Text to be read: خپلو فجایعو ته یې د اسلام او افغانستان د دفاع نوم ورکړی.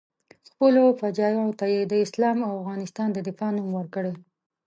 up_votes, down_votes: 2, 0